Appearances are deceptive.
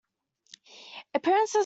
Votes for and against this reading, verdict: 0, 2, rejected